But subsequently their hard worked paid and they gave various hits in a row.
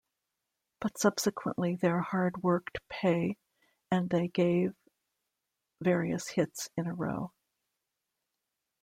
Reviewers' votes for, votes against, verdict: 1, 2, rejected